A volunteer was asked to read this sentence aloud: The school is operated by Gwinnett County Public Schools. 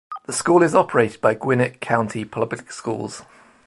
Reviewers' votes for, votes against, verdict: 2, 0, accepted